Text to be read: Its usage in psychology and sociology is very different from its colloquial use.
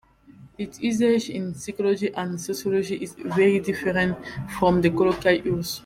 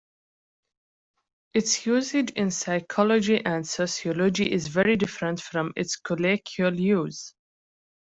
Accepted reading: second